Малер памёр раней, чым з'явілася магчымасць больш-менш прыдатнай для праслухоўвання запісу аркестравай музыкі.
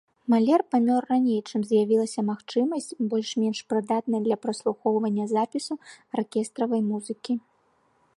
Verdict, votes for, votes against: accepted, 2, 0